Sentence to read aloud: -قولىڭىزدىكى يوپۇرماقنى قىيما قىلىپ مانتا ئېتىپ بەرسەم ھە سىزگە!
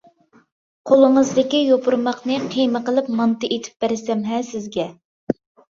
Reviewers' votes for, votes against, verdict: 2, 0, accepted